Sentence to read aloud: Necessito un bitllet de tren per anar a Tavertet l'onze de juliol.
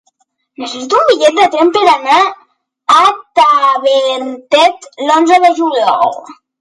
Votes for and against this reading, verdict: 0, 2, rejected